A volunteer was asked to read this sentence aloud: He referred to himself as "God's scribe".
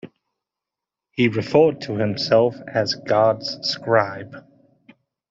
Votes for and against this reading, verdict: 2, 1, accepted